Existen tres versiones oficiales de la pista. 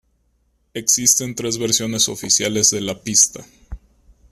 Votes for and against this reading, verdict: 2, 0, accepted